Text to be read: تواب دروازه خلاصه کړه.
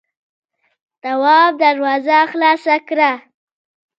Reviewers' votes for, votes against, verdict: 0, 2, rejected